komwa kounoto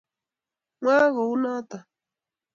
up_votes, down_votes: 1, 2